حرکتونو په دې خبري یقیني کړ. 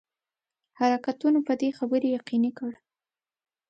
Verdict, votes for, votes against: accepted, 2, 0